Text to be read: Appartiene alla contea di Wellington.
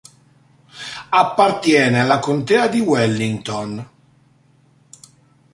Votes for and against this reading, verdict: 2, 0, accepted